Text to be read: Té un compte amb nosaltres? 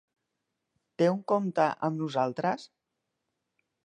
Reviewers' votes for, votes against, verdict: 4, 0, accepted